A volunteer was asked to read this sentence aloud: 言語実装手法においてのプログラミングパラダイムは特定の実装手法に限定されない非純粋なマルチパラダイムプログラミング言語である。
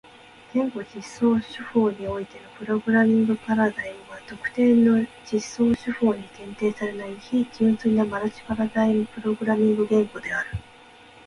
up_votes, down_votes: 0, 2